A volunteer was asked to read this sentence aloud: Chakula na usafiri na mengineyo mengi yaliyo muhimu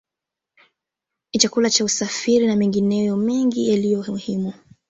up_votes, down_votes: 2, 1